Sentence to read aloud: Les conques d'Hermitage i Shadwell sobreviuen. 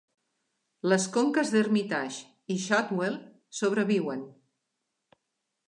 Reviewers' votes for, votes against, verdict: 2, 0, accepted